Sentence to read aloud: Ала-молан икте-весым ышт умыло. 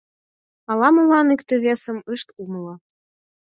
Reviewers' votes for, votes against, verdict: 4, 0, accepted